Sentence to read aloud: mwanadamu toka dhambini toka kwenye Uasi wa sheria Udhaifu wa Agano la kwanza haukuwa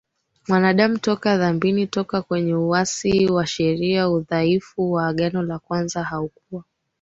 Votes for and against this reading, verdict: 2, 1, accepted